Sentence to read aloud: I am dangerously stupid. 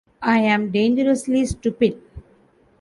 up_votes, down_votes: 13, 5